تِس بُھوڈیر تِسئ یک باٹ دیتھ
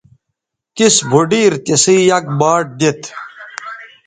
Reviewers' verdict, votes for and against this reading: rejected, 1, 2